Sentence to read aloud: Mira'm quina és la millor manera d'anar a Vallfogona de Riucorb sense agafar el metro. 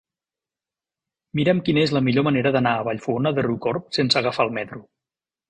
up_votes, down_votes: 2, 0